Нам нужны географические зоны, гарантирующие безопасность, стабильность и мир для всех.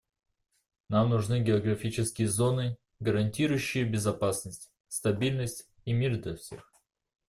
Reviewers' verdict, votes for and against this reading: accepted, 2, 0